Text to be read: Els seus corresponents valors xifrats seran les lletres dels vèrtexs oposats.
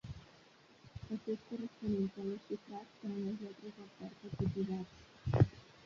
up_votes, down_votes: 1, 2